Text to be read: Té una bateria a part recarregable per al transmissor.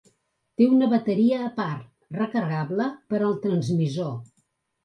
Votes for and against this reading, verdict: 3, 0, accepted